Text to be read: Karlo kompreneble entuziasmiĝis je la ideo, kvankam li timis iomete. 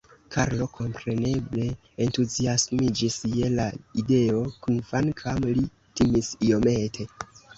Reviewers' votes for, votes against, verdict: 0, 2, rejected